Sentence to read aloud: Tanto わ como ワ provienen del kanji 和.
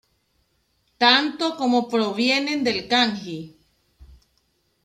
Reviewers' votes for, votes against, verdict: 0, 2, rejected